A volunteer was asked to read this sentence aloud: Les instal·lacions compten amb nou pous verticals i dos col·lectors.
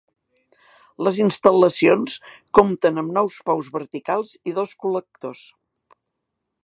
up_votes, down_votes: 1, 2